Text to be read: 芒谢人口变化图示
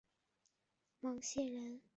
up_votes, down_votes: 0, 4